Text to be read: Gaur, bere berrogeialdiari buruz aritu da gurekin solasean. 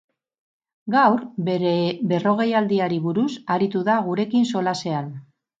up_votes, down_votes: 4, 0